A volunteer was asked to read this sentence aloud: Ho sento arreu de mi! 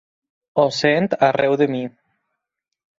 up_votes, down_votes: 4, 2